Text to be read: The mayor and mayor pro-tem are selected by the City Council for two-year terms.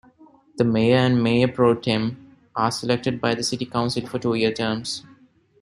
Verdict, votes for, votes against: accepted, 2, 0